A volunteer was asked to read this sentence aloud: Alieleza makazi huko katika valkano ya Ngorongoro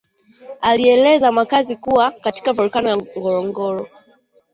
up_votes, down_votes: 2, 1